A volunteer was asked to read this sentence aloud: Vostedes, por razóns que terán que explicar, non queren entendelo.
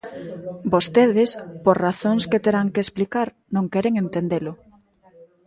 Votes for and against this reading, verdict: 1, 2, rejected